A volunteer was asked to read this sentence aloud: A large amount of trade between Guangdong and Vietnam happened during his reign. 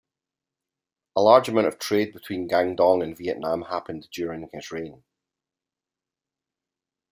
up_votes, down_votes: 2, 0